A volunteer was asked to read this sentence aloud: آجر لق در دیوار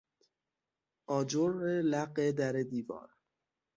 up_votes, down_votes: 3, 6